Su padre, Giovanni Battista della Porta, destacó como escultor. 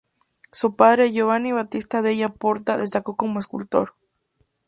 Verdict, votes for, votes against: accepted, 2, 0